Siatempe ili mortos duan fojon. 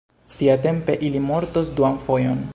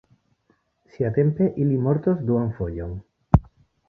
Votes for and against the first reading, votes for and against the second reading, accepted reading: 0, 2, 2, 0, second